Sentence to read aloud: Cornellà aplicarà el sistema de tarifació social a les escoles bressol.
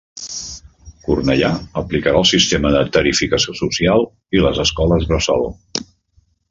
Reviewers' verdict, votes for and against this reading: rejected, 0, 2